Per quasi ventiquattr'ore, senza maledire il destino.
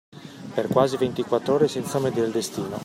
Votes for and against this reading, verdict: 0, 2, rejected